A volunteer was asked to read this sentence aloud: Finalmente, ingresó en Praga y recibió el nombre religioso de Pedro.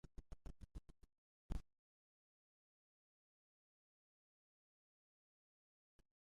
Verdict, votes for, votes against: rejected, 0, 2